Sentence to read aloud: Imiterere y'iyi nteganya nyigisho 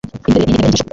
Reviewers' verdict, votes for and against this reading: rejected, 1, 2